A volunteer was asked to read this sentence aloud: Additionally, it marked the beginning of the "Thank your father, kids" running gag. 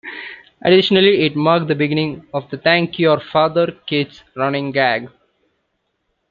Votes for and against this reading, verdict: 2, 1, accepted